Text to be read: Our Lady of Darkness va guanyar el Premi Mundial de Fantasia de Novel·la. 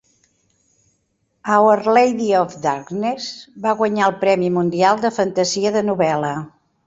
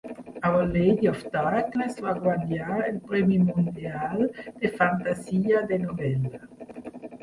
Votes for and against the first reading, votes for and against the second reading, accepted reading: 2, 0, 1, 2, first